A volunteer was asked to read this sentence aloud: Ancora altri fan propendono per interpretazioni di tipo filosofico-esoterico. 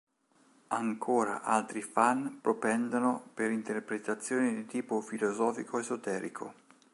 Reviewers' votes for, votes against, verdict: 2, 0, accepted